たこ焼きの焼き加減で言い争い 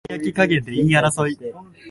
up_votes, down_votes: 1, 4